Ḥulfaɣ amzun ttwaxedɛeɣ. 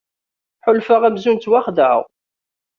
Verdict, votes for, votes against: accepted, 2, 0